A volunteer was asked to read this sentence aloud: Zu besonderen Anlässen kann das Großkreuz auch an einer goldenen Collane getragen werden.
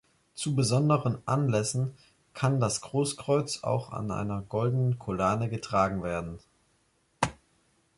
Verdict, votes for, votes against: accepted, 3, 1